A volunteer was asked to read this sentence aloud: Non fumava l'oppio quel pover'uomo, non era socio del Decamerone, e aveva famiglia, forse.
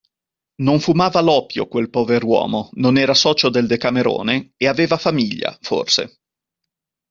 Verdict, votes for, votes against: accepted, 2, 0